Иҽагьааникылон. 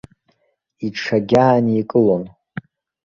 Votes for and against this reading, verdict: 0, 2, rejected